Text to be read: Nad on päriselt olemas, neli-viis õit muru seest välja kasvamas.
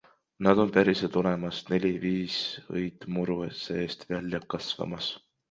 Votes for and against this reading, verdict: 2, 1, accepted